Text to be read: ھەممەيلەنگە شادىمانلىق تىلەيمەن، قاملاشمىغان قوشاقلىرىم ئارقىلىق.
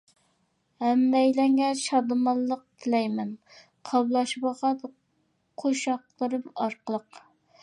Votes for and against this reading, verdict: 2, 0, accepted